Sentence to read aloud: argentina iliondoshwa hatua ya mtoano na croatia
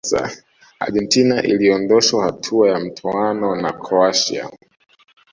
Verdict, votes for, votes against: rejected, 1, 2